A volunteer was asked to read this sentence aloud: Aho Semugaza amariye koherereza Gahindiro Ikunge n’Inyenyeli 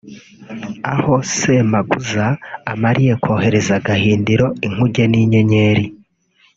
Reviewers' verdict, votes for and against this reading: rejected, 2, 3